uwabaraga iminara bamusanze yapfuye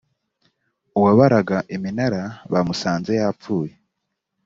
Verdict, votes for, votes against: accepted, 2, 0